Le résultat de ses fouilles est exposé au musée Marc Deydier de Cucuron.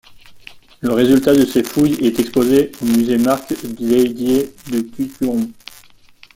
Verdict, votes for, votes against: rejected, 0, 2